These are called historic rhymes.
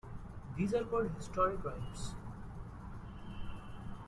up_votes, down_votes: 2, 0